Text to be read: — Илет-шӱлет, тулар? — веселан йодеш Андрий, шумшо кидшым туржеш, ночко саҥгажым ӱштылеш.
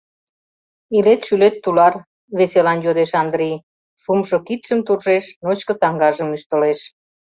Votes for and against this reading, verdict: 2, 0, accepted